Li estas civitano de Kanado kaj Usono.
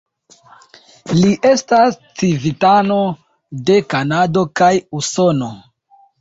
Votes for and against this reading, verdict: 2, 1, accepted